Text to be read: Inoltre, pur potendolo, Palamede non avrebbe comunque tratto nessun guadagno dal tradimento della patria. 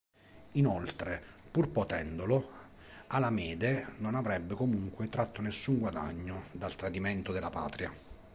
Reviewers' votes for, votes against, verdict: 2, 0, accepted